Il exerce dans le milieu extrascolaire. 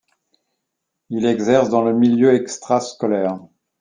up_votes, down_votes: 2, 0